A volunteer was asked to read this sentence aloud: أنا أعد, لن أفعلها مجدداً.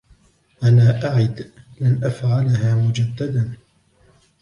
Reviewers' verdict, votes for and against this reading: accepted, 2, 1